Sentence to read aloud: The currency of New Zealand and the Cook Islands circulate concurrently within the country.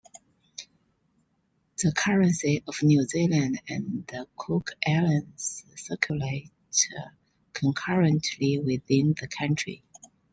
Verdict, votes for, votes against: accepted, 3, 0